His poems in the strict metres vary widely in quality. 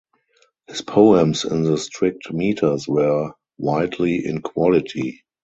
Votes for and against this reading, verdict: 0, 2, rejected